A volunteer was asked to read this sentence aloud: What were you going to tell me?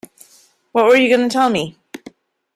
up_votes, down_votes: 1, 2